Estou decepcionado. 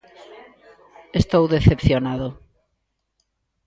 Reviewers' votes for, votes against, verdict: 2, 0, accepted